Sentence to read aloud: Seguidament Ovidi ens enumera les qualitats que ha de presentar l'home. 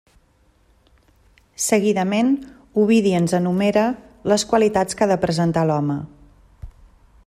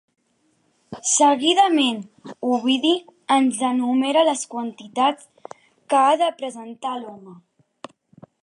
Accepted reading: first